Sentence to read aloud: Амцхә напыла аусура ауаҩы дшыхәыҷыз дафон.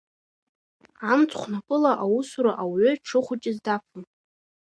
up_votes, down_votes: 2, 0